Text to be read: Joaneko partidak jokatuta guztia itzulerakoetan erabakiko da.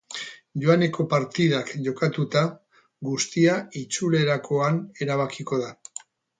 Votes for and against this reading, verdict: 0, 4, rejected